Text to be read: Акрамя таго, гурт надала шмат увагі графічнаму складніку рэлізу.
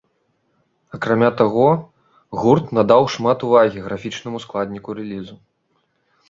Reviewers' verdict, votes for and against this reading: rejected, 1, 2